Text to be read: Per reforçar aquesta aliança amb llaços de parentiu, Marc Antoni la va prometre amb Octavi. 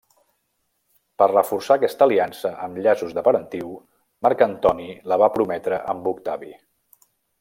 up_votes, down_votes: 2, 0